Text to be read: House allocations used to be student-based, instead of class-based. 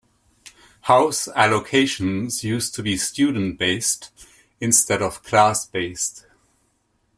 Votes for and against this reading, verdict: 2, 0, accepted